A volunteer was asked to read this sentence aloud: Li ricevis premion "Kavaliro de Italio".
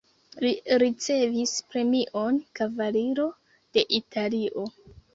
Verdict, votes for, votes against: rejected, 1, 2